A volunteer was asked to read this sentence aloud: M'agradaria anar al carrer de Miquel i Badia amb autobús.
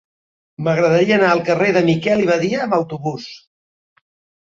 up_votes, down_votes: 3, 0